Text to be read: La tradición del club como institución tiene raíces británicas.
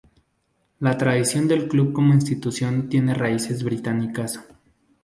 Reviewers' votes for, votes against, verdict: 2, 0, accepted